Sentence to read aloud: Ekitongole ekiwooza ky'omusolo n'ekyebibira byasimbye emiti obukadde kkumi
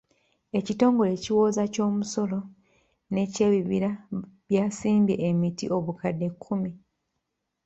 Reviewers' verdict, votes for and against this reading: rejected, 0, 2